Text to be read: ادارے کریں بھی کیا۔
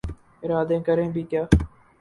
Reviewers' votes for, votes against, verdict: 0, 2, rejected